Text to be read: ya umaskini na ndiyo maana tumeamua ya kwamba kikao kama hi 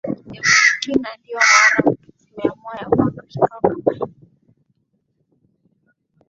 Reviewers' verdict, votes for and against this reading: rejected, 0, 2